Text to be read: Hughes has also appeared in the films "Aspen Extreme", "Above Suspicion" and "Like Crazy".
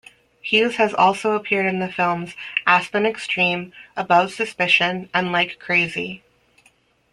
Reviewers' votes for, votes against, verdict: 2, 1, accepted